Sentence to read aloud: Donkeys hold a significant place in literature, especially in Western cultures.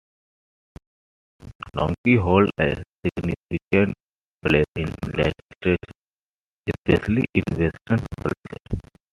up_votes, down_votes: 2, 1